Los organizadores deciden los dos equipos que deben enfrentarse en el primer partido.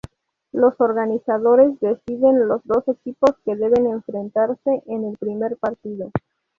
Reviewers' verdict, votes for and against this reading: rejected, 0, 2